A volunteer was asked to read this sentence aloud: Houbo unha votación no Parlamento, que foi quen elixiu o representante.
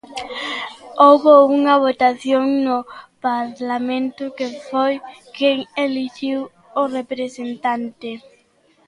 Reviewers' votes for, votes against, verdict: 1, 2, rejected